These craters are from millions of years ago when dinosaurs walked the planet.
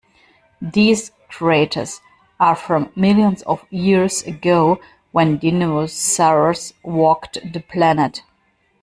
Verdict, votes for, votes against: rejected, 0, 2